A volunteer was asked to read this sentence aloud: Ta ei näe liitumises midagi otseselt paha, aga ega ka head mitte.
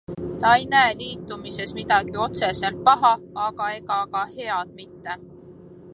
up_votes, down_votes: 2, 0